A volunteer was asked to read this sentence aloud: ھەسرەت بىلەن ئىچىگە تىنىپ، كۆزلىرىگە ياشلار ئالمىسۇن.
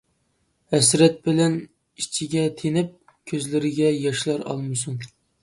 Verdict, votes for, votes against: accepted, 2, 0